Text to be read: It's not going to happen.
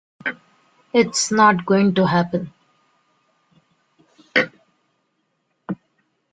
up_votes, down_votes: 2, 0